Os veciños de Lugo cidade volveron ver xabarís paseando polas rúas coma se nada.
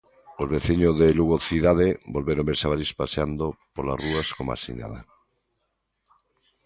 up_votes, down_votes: 2, 1